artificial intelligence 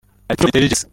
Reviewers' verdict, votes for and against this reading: rejected, 0, 2